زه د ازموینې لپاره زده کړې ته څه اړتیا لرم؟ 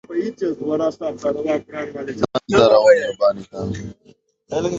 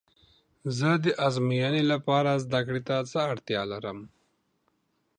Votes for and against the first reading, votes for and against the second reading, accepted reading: 1, 2, 2, 0, second